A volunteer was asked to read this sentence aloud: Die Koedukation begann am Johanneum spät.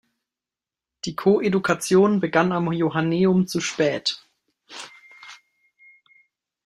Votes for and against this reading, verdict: 0, 2, rejected